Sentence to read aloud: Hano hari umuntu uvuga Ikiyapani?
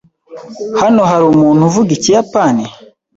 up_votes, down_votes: 2, 1